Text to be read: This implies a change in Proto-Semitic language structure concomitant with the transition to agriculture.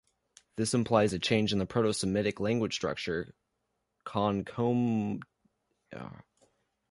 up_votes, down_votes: 0, 2